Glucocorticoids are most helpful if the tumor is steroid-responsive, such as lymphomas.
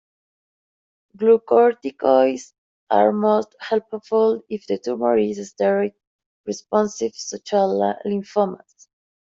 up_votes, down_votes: 0, 2